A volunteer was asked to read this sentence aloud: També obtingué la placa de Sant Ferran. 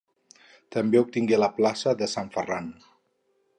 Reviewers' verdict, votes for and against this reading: rejected, 2, 2